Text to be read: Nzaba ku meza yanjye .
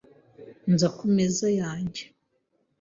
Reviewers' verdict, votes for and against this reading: rejected, 0, 2